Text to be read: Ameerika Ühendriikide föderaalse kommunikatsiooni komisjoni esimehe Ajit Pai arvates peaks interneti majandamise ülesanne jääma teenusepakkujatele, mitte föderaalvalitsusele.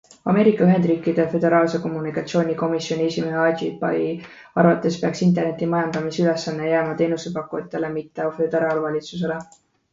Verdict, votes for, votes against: rejected, 1, 2